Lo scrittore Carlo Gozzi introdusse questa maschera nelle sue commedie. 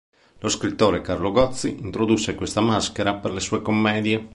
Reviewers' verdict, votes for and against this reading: rejected, 1, 2